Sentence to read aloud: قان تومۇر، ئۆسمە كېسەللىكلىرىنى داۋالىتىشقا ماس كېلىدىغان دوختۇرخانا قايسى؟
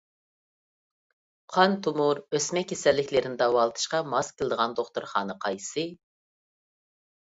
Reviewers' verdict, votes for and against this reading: accepted, 2, 0